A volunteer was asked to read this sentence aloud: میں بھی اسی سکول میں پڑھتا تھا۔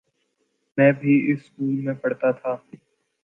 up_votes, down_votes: 7, 2